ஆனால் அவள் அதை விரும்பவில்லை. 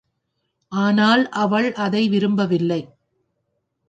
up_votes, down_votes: 4, 0